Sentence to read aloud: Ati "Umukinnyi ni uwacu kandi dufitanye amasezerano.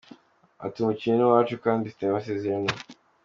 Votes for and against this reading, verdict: 2, 0, accepted